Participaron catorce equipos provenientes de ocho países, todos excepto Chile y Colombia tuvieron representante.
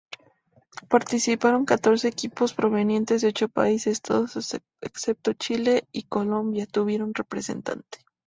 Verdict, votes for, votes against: accepted, 2, 0